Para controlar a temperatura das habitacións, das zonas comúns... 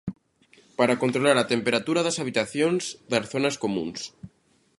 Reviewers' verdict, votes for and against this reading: accepted, 2, 0